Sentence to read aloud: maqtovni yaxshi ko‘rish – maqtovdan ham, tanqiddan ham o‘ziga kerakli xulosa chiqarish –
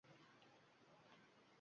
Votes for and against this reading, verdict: 1, 2, rejected